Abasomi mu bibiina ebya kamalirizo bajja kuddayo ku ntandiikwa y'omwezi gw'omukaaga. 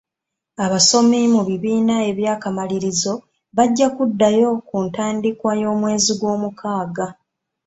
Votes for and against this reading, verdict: 3, 0, accepted